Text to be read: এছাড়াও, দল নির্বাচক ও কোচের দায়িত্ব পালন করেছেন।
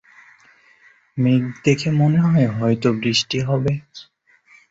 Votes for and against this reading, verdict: 0, 2, rejected